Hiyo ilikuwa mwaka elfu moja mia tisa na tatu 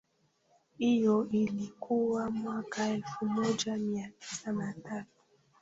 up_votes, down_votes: 0, 2